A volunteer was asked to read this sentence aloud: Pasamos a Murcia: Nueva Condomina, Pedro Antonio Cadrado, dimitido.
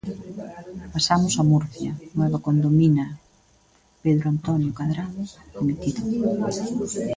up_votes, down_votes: 2, 0